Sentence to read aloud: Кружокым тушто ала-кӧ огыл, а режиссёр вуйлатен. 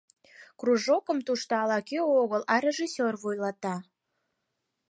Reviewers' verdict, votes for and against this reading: rejected, 2, 4